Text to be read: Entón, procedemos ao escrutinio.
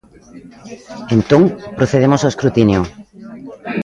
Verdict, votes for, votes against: rejected, 1, 2